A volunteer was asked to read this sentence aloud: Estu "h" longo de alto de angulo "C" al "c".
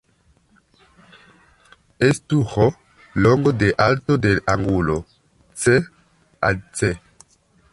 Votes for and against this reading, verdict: 0, 2, rejected